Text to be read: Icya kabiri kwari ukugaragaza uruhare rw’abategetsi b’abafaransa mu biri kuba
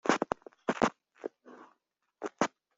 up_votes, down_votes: 0, 2